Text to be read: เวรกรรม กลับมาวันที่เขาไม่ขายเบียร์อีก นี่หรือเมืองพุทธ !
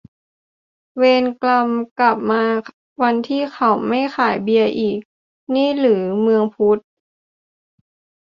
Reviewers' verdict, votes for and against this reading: accepted, 2, 0